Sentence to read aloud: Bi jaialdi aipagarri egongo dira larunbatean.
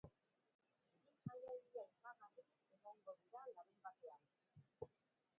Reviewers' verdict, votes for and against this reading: rejected, 0, 2